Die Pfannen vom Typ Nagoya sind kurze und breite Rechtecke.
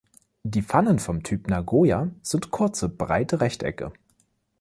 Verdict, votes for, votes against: rejected, 1, 2